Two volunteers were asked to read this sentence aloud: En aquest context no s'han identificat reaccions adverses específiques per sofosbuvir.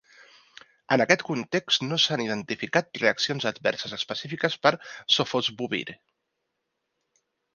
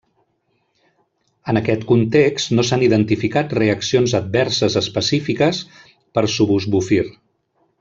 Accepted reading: first